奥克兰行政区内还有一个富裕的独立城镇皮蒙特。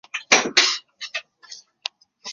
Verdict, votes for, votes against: rejected, 0, 5